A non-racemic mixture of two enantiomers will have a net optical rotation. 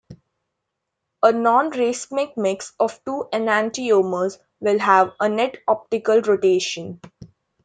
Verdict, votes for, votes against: rejected, 0, 2